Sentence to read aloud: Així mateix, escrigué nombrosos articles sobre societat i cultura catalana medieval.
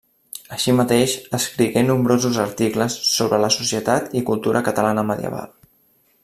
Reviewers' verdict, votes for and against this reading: rejected, 1, 2